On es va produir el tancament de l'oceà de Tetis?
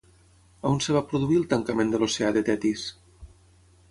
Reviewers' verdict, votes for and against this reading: rejected, 0, 6